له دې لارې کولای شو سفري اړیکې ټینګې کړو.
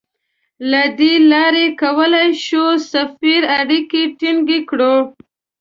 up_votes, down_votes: 2, 0